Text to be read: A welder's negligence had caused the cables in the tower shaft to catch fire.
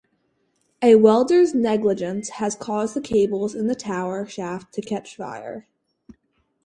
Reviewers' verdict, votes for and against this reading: accepted, 4, 0